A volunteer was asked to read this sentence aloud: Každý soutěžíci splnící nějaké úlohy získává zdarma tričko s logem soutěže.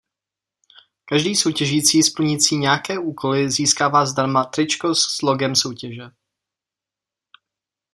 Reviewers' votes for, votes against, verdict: 0, 2, rejected